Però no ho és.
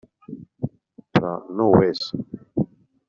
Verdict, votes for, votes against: rejected, 0, 2